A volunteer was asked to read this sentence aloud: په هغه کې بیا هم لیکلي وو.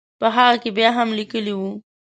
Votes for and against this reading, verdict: 2, 0, accepted